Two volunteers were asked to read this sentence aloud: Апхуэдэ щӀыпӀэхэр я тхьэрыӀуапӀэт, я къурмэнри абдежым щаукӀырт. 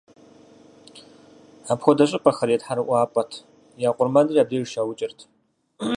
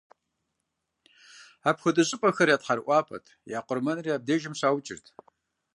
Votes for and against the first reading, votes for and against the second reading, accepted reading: 0, 4, 2, 0, second